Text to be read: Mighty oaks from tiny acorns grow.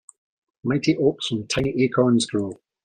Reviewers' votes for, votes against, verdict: 2, 0, accepted